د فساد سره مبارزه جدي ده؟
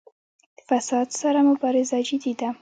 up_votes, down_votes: 2, 0